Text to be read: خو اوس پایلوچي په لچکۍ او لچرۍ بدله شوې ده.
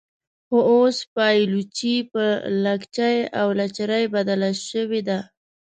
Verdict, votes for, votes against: rejected, 1, 2